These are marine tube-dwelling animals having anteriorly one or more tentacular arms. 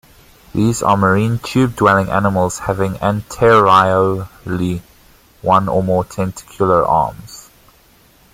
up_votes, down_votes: 1, 2